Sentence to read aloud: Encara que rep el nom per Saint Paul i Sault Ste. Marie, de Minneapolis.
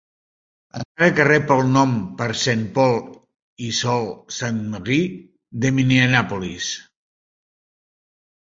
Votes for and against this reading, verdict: 0, 2, rejected